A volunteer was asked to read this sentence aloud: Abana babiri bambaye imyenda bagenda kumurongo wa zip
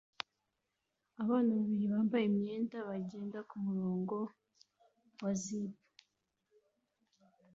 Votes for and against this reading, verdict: 2, 0, accepted